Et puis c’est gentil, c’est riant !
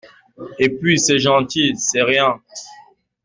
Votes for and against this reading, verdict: 2, 1, accepted